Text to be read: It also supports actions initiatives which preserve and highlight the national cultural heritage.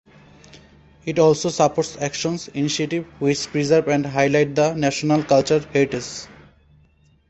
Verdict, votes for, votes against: rejected, 0, 2